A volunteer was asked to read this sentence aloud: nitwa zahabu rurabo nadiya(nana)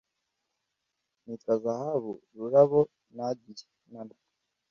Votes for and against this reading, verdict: 2, 0, accepted